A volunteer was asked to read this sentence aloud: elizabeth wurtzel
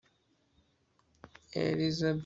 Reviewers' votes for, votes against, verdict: 1, 2, rejected